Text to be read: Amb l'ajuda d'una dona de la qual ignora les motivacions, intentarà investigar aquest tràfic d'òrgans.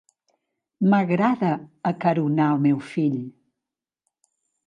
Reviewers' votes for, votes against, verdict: 0, 2, rejected